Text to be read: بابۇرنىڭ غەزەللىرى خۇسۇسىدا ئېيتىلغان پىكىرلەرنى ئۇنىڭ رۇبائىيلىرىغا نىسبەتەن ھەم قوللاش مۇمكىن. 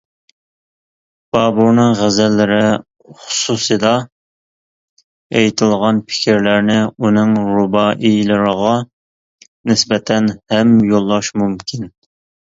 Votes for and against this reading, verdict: 1, 2, rejected